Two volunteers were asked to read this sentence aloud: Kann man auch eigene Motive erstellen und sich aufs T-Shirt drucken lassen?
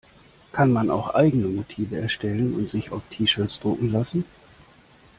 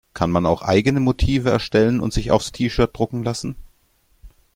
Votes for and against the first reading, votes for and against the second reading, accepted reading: 1, 2, 2, 0, second